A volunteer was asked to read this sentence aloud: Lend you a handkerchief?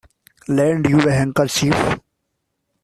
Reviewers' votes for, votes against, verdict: 2, 1, accepted